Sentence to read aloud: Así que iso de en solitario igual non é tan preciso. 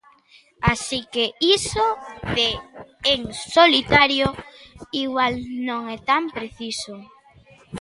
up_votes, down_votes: 3, 0